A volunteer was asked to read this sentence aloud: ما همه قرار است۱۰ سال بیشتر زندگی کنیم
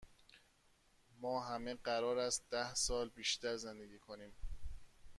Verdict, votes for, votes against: rejected, 0, 2